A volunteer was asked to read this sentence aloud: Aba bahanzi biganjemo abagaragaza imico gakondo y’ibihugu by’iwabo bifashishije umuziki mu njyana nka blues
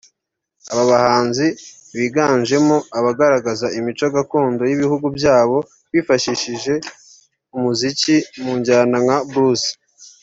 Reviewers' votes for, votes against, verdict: 2, 0, accepted